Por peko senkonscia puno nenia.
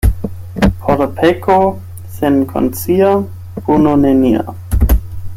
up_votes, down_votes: 8, 0